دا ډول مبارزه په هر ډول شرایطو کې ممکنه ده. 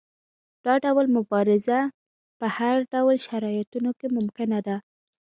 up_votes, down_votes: 1, 2